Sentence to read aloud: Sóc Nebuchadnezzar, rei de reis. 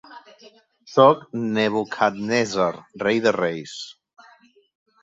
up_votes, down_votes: 2, 1